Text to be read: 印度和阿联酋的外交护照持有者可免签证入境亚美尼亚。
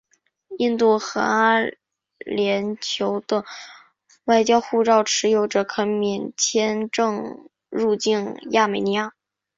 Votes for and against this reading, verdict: 3, 1, accepted